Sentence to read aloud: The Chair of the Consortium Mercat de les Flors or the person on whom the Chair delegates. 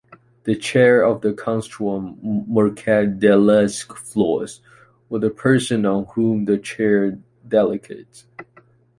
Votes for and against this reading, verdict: 0, 2, rejected